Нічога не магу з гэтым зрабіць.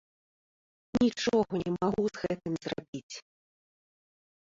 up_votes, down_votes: 0, 2